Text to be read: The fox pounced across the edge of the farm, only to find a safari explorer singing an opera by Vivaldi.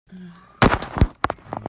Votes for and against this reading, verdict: 0, 2, rejected